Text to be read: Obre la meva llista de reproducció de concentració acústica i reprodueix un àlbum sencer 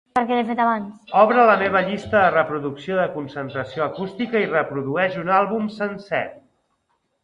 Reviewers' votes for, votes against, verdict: 1, 2, rejected